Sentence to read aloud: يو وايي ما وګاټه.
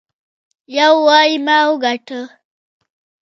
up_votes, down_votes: 0, 2